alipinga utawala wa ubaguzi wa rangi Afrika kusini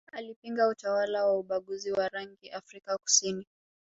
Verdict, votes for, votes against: accepted, 2, 0